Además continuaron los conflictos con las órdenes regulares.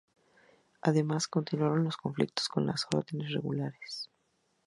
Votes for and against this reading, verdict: 0, 2, rejected